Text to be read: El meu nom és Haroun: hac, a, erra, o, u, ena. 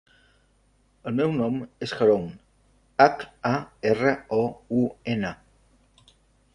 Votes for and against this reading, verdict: 2, 0, accepted